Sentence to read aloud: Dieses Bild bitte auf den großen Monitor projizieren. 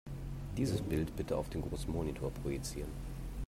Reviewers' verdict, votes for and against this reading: accepted, 2, 0